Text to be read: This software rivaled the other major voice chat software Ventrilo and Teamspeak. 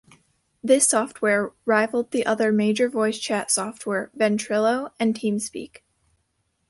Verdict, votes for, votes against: rejected, 1, 2